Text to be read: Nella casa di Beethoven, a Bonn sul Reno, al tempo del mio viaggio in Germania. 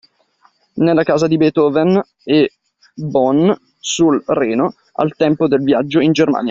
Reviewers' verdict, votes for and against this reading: rejected, 0, 2